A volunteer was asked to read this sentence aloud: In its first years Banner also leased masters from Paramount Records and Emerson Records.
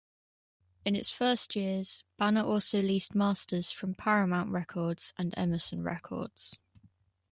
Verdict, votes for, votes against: rejected, 0, 2